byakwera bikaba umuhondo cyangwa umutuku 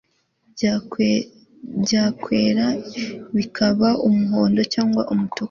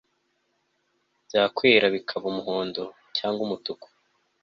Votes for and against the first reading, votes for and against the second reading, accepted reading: 1, 2, 2, 0, second